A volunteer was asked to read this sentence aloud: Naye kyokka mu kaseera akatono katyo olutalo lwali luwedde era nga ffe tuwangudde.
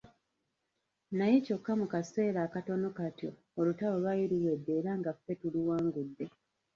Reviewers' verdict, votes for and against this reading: rejected, 0, 2